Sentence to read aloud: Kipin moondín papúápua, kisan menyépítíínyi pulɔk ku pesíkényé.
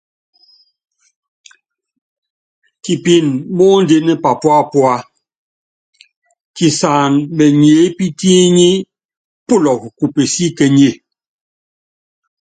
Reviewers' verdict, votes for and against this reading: accepted, 2, 0